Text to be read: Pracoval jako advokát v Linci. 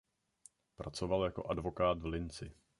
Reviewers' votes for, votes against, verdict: 2, 0, accepted